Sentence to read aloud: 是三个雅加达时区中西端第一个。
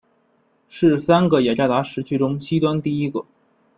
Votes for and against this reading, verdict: 2, 1, accepted